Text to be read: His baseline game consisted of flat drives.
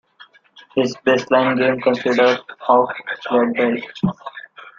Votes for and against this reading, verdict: 0, 2, rejected